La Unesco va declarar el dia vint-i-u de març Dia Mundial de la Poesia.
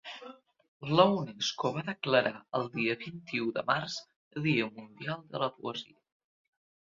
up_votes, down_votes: 0, 2